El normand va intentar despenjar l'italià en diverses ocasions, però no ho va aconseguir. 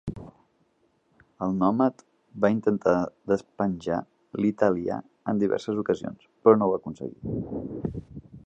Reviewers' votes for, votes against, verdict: 0, 2, rejected